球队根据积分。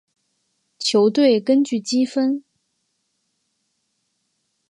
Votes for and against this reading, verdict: 3, 0, accepted